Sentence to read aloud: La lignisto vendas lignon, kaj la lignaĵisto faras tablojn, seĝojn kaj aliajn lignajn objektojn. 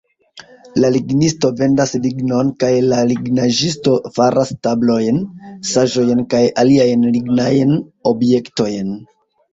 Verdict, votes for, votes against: accepted, 2, 0